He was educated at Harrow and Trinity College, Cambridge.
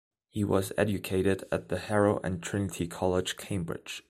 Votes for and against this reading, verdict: 1, 2, rejected